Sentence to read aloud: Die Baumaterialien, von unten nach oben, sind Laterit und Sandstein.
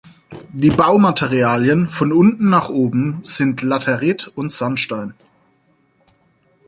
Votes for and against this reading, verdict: 4, 0, accepted